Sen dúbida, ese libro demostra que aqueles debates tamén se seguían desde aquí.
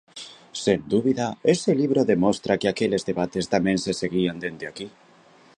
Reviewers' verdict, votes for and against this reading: rejected, 1, 2